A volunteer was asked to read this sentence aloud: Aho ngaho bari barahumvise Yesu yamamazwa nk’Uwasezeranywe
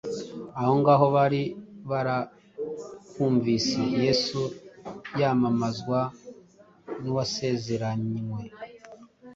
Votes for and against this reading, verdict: 2, 0, accepted